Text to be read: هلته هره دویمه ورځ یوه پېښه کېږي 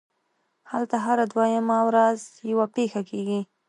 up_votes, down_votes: 2, 0